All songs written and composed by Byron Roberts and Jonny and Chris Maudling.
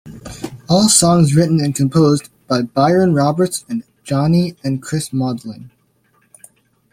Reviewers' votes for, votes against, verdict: 2, 0, accepted